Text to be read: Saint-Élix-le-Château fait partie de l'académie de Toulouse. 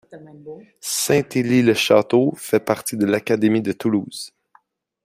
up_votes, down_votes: 2, 0